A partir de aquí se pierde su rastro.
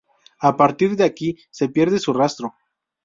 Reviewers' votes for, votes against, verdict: 2, 0, accepted